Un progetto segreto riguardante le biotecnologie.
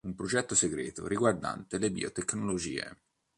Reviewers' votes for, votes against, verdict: 2, 1, accepted